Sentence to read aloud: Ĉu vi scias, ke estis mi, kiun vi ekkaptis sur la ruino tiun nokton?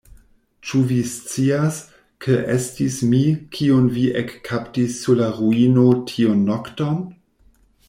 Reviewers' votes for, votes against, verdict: 2, 1, accepted